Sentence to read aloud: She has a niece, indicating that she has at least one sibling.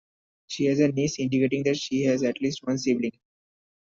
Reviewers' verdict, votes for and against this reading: rejected, 1, 2